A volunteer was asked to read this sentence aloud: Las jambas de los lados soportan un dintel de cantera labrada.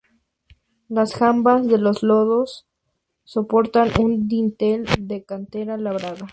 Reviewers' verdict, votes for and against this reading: rejected, 0, 2